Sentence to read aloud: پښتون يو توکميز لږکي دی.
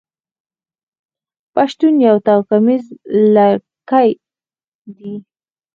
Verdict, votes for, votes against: rejected, 0, 4